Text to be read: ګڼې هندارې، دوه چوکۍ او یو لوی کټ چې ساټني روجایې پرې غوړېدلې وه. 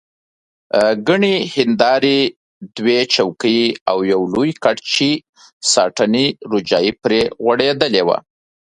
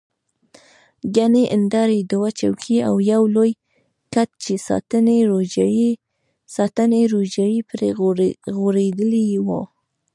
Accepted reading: first